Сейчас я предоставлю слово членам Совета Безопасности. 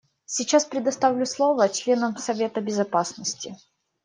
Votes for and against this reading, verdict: 1, 2, rejected